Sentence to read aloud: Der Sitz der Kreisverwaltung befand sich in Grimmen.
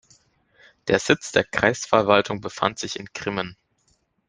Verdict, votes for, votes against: accepted, 2, 0